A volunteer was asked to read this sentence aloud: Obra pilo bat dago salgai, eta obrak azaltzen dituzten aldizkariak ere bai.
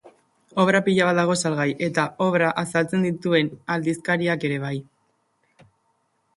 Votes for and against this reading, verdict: 2, 1, accepted